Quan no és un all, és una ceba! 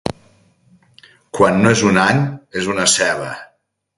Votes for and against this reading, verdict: 2, 2, rejected